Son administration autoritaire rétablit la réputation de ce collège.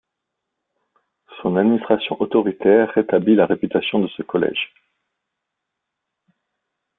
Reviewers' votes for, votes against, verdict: 3, 2, accepted